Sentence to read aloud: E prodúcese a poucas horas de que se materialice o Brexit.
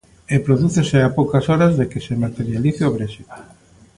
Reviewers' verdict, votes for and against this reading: accepted, 2, 0